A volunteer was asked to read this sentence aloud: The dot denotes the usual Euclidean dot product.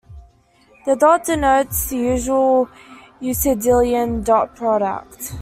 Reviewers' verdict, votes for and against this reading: rejected, 1, 2